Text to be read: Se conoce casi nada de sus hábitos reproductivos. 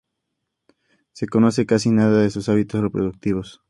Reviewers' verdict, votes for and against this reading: accepted, 2, 0